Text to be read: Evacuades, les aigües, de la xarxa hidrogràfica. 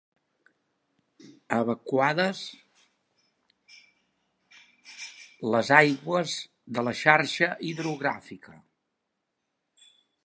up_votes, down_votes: 0, 2